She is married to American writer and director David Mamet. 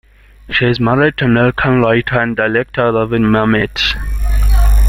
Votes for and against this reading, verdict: 1, 2, rejected